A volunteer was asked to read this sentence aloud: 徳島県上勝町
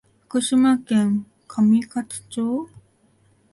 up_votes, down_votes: 1, 2